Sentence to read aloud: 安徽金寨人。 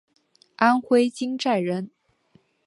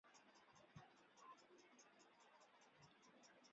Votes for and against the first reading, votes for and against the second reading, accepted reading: 2, 0, 0, 2, first